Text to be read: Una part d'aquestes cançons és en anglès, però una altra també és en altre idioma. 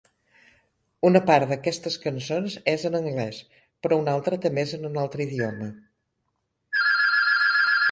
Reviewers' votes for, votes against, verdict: 0, 2, rejected